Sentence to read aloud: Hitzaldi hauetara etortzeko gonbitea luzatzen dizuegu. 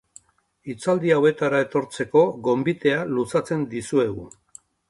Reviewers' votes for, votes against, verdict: 3, 1, accepted